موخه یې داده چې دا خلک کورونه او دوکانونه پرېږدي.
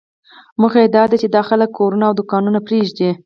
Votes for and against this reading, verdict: 4, 0, accepted